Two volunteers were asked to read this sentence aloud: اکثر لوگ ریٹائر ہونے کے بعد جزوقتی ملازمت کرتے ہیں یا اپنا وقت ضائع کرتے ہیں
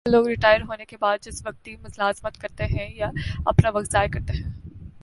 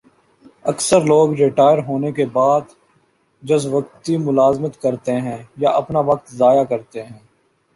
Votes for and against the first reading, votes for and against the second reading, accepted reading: 0, 2, 2, 0, second